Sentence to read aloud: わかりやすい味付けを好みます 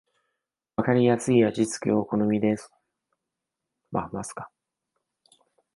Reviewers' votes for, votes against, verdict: 0, 2, rejected